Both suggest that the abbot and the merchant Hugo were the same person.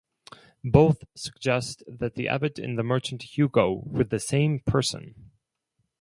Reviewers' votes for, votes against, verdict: 2, 2, rejected